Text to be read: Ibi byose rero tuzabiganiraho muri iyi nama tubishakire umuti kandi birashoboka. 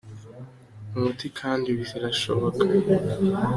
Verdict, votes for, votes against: rejected, 0, 2